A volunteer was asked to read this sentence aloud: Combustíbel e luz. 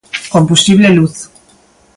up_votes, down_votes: 0, 2